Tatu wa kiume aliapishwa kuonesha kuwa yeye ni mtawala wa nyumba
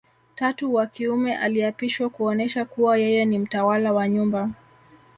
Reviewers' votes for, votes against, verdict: 0, 2, rejected